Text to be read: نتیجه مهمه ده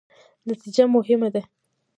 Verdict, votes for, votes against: rejected, 1, 2